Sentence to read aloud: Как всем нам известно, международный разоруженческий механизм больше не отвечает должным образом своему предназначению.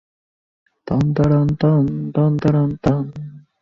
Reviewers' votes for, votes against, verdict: 0, 2, rejected